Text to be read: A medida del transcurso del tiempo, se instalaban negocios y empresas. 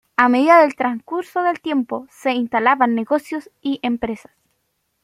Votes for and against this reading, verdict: 2, 0, accepted